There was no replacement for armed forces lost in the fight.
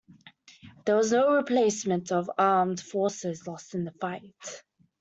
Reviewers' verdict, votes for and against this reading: rejected, 0, 2